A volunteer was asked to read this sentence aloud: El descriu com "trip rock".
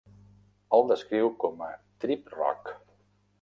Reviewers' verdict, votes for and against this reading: rejected, 0, 2